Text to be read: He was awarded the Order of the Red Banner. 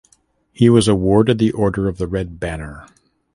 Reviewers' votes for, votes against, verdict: 2, 0, accepted